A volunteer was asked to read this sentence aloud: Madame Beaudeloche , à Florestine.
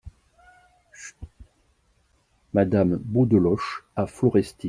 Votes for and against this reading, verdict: 0, 2, rejected